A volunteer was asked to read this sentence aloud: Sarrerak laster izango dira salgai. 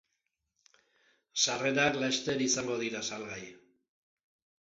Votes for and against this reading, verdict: 3, 0, accepted